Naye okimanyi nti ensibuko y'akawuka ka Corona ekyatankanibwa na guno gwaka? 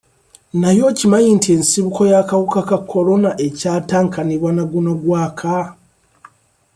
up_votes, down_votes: 2, 0